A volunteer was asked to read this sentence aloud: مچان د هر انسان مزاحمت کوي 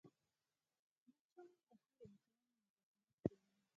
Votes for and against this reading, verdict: 2, 4, rejected